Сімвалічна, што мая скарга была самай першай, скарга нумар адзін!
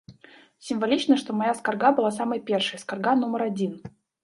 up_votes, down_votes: 0, 2